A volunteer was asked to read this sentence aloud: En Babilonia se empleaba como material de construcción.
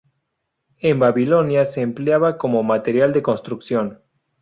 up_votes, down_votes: 2, 0